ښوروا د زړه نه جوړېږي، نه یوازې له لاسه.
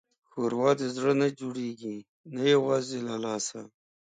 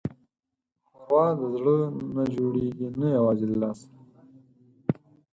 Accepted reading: first